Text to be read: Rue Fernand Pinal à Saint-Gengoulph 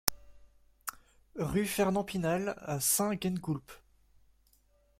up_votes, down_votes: 2, 1